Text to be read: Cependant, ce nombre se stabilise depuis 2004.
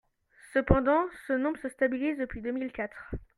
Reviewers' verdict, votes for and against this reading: rejected, 0, 2